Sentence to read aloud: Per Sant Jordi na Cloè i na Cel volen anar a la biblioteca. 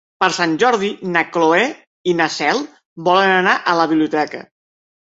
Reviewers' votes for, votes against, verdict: 2, 0, accepted